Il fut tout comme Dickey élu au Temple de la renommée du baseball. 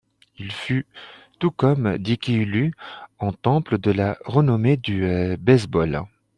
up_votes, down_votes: 2, 1